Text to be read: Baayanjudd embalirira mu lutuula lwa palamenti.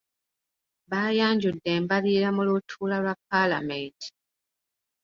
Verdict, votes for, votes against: rejected, 0, 2